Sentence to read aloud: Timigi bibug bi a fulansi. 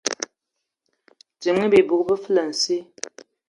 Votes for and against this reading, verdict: 0, 3, rejected